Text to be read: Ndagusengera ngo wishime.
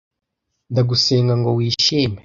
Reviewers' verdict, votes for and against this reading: rejected, 1, 2